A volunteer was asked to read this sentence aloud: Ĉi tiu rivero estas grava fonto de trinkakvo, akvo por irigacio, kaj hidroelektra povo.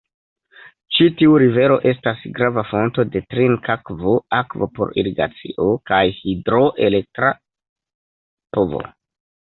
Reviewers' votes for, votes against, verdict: 1, 3, rejected